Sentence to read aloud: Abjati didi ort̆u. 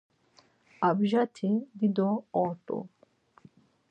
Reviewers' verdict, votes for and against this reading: rejected, 0, 4